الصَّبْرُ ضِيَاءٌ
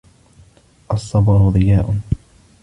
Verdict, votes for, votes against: accepted, 2, 0